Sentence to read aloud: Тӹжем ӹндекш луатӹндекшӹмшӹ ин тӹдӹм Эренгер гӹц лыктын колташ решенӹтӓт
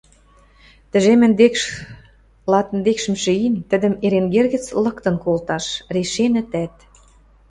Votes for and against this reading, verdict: 0, 2, rejected